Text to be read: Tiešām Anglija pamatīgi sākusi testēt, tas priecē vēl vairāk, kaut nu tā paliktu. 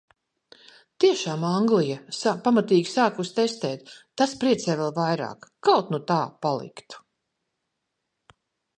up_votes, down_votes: 0, 2